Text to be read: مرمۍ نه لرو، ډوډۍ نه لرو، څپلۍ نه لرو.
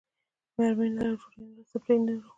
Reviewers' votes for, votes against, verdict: 2, 1, accepted